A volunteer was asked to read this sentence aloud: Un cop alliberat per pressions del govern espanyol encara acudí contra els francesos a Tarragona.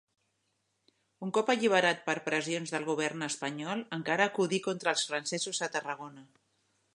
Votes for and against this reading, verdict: 3, 0, accepted